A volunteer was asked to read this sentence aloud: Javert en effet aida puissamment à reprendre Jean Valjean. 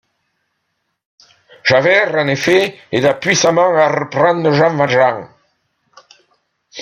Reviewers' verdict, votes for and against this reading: accepted, 2, 0